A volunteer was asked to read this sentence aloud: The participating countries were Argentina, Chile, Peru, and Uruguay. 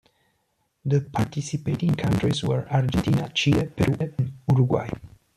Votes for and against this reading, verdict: 1, 2, rejected